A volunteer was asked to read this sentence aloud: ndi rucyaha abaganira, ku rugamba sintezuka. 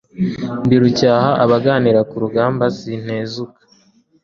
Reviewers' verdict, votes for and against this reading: accepted, 2, 0